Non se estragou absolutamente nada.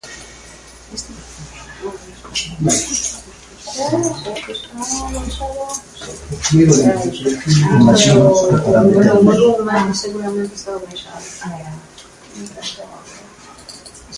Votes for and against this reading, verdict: 0, 2, rejected